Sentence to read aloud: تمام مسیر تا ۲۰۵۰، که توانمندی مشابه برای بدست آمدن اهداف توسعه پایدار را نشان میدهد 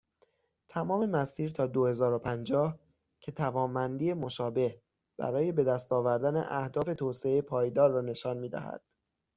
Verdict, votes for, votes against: rejected, 0, 2